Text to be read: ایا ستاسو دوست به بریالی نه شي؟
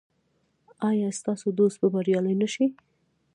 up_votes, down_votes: 0, 2